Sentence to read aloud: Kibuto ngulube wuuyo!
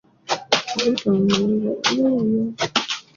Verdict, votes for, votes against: rejected, 0, 2